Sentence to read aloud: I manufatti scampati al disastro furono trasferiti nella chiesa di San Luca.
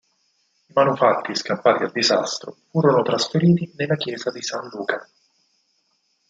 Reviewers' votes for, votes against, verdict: 4, 0, accepted